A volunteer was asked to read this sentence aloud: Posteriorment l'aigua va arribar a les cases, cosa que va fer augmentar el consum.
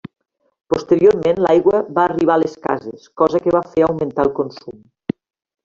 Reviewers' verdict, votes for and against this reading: rejected, 0, 2